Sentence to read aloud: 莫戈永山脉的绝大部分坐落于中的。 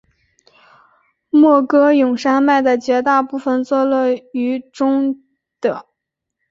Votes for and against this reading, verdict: 2, 0, accepted